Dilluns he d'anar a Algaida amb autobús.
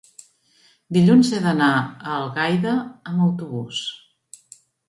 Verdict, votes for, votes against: accepted, 3, 1